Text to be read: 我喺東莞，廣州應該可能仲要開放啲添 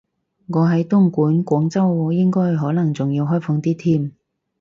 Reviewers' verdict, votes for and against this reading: accepted, 2, 0